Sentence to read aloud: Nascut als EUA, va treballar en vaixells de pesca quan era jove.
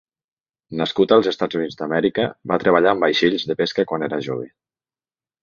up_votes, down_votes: 1, 2